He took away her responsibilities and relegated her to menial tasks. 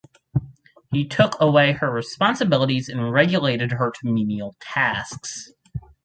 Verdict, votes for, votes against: rejected, 0, 4